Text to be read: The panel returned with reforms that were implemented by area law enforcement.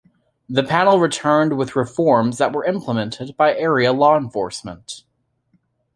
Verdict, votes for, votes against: accepted, 2, 0